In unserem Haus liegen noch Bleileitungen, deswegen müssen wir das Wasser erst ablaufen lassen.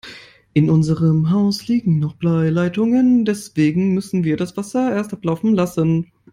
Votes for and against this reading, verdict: 0, 2, rejected